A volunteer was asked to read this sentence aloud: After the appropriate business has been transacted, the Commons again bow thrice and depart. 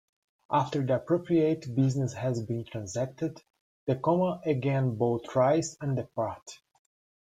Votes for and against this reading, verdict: 1, 2, rejected